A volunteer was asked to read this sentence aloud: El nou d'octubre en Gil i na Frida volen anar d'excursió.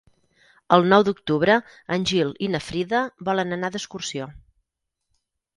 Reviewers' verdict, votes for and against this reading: accepted, 6, 0